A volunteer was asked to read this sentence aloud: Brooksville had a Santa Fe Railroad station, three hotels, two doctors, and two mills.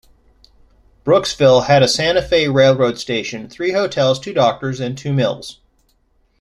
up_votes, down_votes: 2, 0